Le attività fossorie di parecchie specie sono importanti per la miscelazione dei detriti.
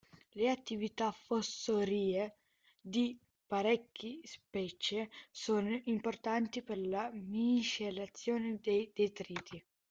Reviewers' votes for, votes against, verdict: 0, 2, rejected